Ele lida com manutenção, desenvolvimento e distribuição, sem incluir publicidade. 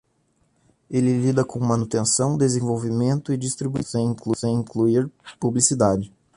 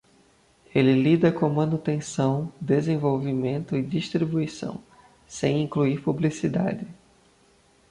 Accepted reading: second